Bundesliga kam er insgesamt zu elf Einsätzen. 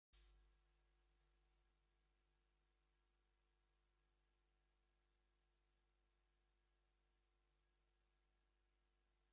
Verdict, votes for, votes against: rejected, 0, 2